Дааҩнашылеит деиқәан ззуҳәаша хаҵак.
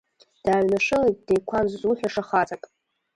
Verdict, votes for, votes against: rejected, 1, 2